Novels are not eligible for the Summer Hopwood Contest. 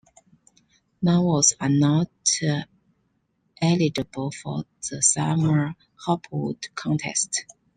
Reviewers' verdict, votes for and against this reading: accepted, 2, 0